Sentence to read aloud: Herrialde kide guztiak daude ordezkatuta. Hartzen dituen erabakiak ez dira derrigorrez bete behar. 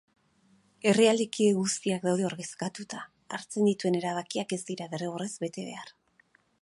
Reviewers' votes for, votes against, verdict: 2, 0, accepted